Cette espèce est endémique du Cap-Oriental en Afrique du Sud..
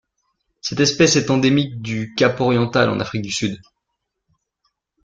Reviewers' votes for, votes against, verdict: 2, 0, accepted